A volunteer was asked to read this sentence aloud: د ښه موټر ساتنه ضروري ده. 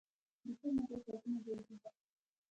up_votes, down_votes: 1, 2